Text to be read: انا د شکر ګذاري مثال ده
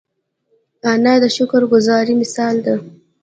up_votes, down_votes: 0, 2